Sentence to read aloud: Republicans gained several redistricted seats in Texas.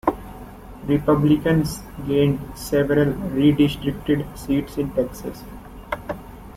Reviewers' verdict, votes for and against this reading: accepted, 2, 1